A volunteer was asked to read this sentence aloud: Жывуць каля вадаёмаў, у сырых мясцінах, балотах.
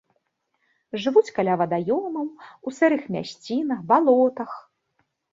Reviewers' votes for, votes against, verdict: 2, 0, accepted